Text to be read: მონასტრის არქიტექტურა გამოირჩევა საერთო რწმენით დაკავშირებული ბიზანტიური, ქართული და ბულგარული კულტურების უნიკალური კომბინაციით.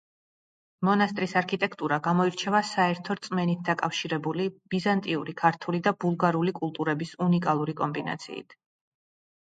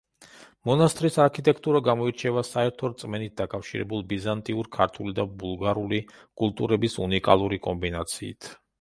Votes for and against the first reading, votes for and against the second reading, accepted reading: 2, 0, 1, 2, first